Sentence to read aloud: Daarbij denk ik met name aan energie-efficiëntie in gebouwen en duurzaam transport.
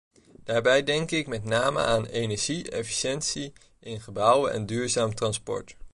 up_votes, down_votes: 2, 0